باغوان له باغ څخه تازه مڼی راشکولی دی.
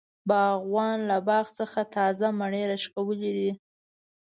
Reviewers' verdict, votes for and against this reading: rejected, 0, 2